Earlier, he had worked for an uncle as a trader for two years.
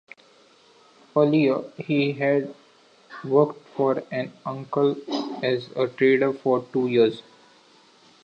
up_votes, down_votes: 1, 2